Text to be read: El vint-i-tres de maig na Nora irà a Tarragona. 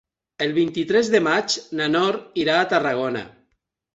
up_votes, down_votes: 0, 2